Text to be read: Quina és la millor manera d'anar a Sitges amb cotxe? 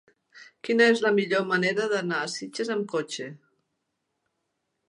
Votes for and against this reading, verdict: 3, 0, accepted